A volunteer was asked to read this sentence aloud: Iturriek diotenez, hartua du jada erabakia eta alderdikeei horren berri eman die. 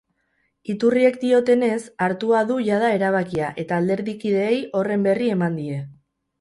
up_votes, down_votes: 0, 2